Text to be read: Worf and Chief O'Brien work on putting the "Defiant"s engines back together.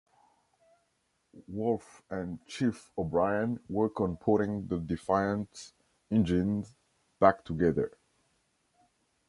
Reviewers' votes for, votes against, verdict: 2, 0, accepted